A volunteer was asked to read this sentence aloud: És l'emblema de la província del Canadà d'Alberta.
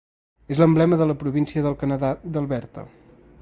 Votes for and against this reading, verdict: 2, 0, accepted